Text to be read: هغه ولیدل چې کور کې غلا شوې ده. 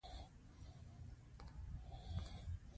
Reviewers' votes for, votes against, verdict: 1, 2, rejected